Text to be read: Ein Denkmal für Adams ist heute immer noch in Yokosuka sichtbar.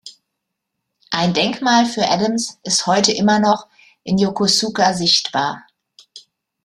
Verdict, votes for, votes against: accepted, 2, 0